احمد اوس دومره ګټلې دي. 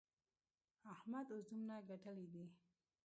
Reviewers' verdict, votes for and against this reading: accepted, 2, 0